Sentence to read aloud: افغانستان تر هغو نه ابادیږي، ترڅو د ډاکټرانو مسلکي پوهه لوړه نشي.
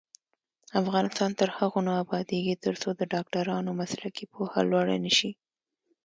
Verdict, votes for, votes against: accepted, 2, 0